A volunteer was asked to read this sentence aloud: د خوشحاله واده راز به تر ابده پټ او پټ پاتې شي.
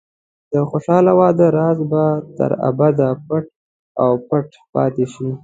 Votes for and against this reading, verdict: 2, 0, accepted